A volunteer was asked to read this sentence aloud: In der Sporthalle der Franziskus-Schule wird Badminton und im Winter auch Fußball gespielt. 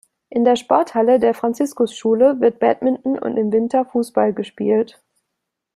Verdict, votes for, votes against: rejected, 0, 2